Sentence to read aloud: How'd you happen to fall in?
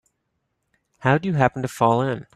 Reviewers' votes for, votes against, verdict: 2, 0, accepted